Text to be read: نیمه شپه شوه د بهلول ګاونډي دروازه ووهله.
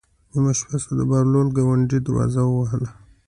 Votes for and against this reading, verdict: 2, 0, accepted